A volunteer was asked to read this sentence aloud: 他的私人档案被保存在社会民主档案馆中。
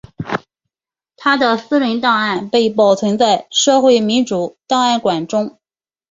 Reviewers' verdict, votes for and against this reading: accepted, 2, 0